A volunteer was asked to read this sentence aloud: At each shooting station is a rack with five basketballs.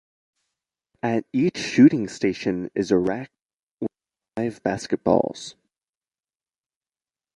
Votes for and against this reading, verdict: 2, 0, accepted